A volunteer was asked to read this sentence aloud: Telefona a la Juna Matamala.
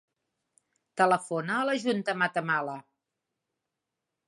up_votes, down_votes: 0, 2